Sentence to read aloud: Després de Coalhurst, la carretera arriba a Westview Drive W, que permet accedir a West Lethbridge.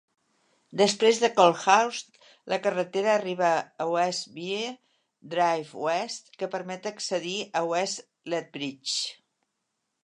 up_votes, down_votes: 0, 2